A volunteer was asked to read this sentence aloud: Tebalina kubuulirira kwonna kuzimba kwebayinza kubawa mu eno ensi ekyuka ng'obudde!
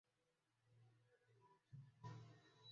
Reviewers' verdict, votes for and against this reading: rejected, 0, 2